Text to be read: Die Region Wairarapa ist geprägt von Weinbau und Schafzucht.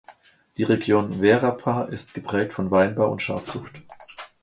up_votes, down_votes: 1, 2